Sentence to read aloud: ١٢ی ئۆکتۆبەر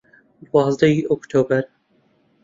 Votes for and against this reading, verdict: 0, 2, rejected